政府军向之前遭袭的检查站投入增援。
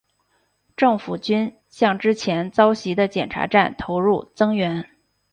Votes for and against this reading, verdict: 2, 0, accepted